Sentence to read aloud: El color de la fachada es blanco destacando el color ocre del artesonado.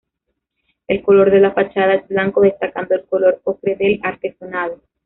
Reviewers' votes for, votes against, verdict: 0, 2, rejected